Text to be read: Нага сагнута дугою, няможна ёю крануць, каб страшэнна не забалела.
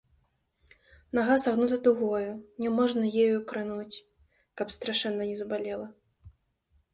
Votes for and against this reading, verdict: 1, 2, rejected